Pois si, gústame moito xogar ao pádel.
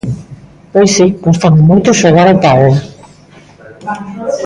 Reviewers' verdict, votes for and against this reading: rejected, 1, 2